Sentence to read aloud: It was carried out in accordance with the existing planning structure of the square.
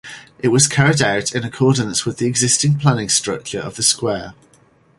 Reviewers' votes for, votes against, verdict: 4, 0, accepted